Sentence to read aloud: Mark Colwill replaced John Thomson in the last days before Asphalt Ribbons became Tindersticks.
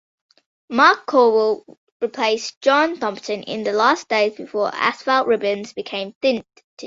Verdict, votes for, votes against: rejected, 1, 2